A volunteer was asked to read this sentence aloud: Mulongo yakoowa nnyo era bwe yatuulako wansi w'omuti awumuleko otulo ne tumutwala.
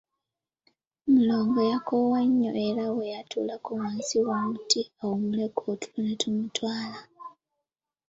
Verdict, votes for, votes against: accepted, 2, 1